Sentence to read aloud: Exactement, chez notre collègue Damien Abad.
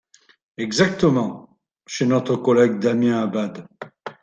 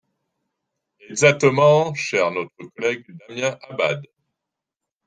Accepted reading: first